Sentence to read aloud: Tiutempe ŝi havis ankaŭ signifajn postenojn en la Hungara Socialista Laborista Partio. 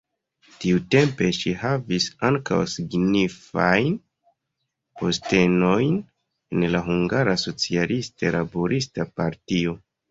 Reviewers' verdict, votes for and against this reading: rejected, 1, 2